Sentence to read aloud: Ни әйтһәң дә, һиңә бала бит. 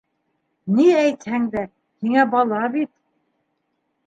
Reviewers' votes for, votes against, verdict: 2, 0, accepted